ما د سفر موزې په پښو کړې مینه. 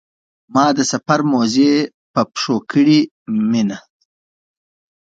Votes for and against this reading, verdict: 2, 0, accepted